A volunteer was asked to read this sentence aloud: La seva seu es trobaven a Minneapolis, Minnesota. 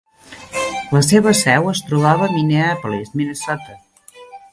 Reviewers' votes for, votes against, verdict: 1, 2, rejected